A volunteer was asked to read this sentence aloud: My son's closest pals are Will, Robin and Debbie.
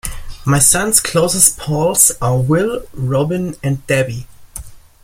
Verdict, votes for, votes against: rejected, 1, 2